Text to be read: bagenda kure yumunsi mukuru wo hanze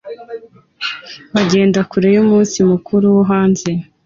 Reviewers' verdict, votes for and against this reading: accepted, 2, 0